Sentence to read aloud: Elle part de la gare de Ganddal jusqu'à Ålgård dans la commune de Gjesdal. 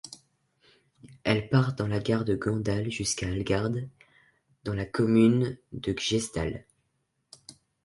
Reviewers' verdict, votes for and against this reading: rejected, 0, 2